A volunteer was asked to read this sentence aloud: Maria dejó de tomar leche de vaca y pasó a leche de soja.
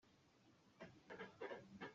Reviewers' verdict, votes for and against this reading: rejected, 0, 2